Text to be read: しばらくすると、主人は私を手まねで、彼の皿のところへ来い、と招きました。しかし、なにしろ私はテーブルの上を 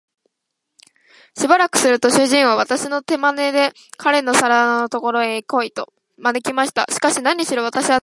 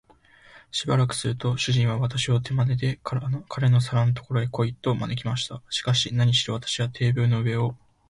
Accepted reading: second